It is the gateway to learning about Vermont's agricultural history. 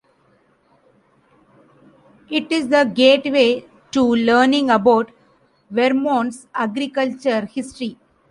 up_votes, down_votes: 1, 2